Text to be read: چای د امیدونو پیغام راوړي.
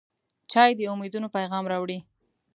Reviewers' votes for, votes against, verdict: 2, 0, accepted